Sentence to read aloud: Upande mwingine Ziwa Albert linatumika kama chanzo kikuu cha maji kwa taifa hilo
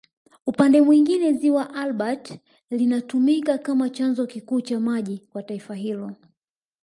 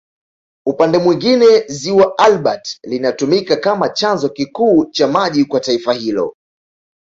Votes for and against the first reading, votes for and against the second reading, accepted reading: 0, 2, 2, 0, second